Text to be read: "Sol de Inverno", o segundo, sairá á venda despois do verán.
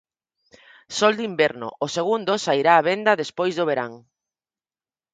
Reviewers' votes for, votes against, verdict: 4, 0, accepted